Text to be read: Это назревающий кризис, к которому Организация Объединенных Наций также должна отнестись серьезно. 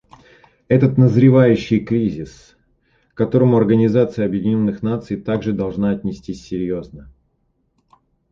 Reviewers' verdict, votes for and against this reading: rejected, 0, 2